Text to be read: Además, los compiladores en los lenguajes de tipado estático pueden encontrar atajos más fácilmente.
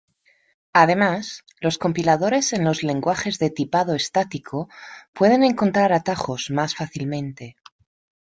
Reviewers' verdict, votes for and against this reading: accepted, 2, 0